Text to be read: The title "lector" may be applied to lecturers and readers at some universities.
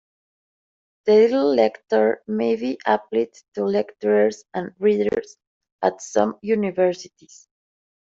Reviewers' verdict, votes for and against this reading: rejected, 0, 2